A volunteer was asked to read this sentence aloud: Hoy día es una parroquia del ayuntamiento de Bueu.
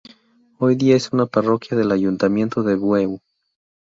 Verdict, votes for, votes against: accepted, 2, 0